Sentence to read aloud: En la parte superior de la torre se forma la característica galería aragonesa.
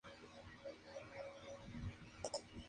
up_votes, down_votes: 0, 2